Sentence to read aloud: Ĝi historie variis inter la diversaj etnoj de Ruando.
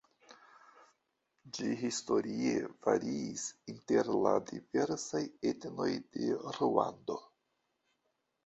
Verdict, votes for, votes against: rejected, 0, 2